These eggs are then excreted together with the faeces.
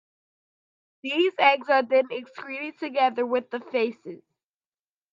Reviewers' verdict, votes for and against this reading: rejected, 1, 2